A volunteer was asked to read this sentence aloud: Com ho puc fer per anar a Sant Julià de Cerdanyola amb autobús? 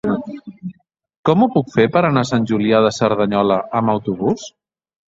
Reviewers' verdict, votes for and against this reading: accepted, 3, 0